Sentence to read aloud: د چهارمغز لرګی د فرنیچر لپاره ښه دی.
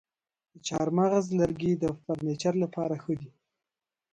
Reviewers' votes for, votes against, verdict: 0, 2, rejected